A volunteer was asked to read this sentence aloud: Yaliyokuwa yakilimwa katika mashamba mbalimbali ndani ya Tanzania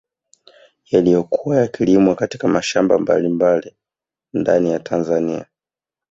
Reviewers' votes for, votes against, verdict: 1, 2, rejected